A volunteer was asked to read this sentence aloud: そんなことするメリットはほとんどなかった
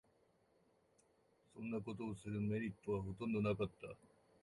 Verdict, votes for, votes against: rejected, 1, 2